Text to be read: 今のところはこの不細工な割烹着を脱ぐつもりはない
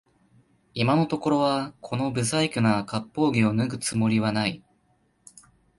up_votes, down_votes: 2, 0